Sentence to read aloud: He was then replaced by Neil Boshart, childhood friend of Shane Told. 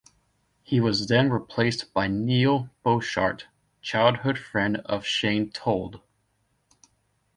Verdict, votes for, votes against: accepted, 2, 0